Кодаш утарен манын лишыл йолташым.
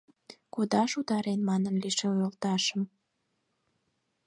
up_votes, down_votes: 4, 2